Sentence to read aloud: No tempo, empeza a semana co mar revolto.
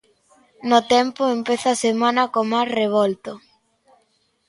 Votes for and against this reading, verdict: 2, 0, accepted